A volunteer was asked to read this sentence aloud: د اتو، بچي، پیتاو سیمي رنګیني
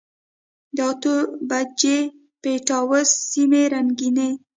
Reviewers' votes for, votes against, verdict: 0, 2, rejected